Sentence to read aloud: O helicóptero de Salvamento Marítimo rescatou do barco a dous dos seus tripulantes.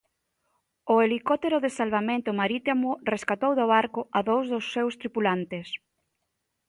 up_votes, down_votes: 2, 0